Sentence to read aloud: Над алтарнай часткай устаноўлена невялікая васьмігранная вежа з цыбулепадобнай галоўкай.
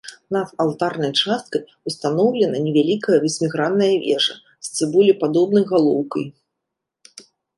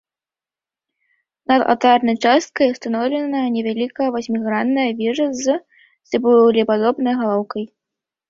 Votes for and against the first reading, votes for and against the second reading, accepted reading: 2, 0, 1, 2, first